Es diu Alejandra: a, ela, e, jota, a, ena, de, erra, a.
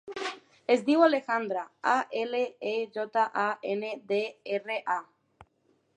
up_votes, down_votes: 1, 2